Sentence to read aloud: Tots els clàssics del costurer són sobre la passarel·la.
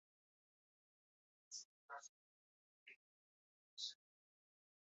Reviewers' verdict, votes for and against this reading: rejected, 0, 2